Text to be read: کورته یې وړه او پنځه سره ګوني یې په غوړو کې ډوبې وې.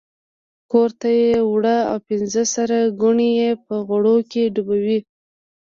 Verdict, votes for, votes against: rejected, 1, 2